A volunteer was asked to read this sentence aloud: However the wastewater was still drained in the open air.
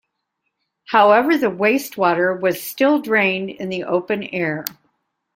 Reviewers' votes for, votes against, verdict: 2, 0, accepted